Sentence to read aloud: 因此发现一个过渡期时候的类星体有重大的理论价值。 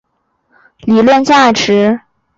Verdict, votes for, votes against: accepted, 2, 1